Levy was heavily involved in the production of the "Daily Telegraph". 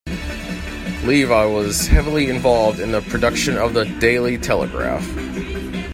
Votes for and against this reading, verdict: 1, 2, rejected